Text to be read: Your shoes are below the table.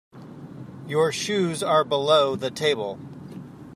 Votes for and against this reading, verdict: 2, 0, accepted